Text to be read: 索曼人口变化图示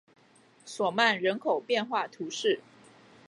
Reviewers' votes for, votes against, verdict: 2, 0, accepted